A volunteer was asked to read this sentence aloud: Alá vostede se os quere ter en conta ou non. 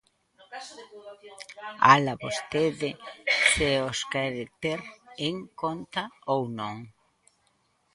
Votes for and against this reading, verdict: 1, 2, rejected